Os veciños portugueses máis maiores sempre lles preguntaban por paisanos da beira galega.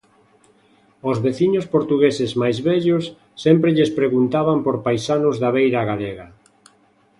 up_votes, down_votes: 0, 2